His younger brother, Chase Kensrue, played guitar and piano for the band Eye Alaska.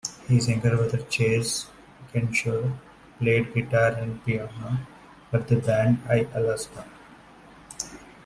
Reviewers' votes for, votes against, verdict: 1, 2, rejected